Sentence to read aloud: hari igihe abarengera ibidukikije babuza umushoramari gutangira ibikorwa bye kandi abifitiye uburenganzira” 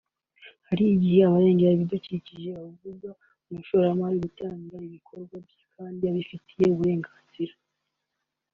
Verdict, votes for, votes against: accepted, 2, 0